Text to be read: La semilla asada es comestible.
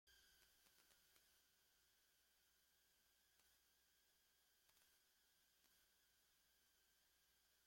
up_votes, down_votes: 0, 2